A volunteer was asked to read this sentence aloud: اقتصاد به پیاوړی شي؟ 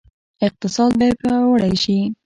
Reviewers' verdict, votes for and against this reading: accepted, 2, 0